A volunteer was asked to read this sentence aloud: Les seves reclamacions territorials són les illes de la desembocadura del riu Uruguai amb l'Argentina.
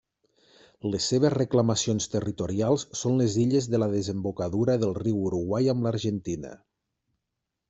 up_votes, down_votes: 3, 0